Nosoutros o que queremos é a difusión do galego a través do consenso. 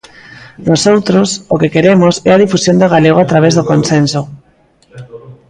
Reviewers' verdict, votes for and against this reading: rejected, 0, 2